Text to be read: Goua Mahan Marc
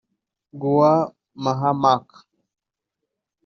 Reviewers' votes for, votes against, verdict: 1, 2, rejected